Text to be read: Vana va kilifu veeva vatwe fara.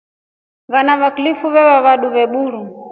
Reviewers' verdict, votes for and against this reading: rejected, 0, 2